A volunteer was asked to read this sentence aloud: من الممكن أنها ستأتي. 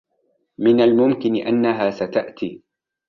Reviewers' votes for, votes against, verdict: 2, 0, accepted